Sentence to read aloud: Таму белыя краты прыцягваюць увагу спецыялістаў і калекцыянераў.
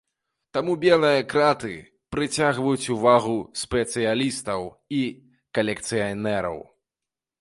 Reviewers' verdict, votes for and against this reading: rejected, 1, 2